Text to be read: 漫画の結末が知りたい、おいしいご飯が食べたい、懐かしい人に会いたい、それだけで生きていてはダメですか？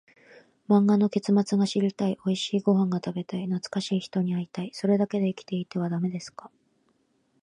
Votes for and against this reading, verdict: 2, 0, accepted